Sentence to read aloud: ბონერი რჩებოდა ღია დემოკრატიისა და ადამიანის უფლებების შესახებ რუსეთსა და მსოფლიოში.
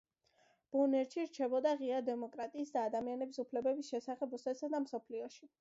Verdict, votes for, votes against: accepted, 2, 1